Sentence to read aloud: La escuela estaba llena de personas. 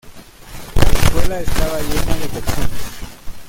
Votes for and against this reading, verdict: 0, 2, rejected